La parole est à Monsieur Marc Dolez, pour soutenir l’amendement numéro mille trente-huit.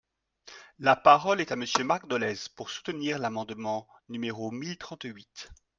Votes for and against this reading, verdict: 2, 0, accepted